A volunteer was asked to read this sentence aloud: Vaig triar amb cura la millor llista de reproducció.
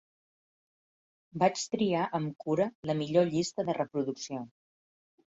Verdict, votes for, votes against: accepted, 5, 0